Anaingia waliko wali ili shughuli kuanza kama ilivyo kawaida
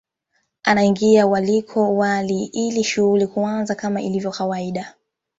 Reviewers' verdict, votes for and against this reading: accepted, 2, 0